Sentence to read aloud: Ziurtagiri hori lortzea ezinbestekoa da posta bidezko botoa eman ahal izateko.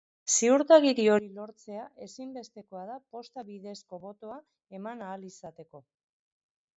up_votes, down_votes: 1, 2